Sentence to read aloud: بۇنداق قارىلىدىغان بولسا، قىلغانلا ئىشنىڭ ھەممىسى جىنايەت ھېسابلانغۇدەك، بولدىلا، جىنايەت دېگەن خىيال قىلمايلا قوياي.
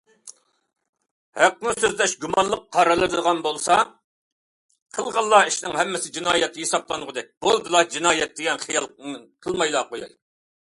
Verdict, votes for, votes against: rejected, 0, 2